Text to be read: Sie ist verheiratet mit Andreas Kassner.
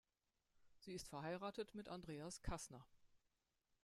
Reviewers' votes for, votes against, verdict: 1, 2, rejected